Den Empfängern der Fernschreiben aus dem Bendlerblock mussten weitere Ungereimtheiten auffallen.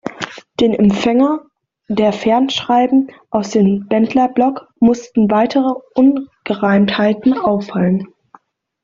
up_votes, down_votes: 0, 2